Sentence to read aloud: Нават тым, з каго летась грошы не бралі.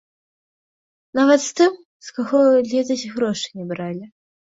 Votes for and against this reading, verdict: 1, 2, rejected